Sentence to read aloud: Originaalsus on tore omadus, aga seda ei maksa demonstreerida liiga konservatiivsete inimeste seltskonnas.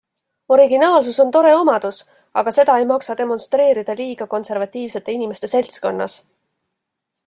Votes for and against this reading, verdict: 2, 0, accepted